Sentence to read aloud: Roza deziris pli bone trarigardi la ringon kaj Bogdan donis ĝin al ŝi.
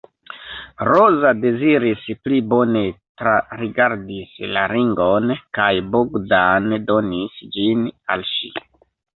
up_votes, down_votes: 1, 2